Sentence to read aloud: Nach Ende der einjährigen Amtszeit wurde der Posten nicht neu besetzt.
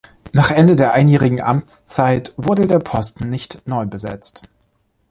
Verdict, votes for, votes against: accepted, 3, 0